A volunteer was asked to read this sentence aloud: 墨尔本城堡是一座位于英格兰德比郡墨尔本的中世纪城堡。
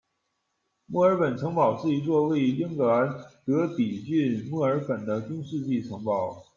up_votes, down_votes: 2, 0